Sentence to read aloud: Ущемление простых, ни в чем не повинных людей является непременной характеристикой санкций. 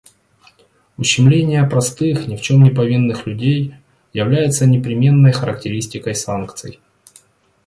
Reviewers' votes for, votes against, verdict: 2, 0, accepted